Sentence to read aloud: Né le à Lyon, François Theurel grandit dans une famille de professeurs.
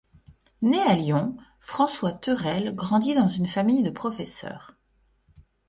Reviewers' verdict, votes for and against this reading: rejected, 1, 2